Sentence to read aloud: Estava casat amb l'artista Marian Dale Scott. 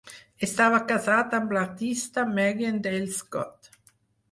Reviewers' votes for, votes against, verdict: 4, 0, accepted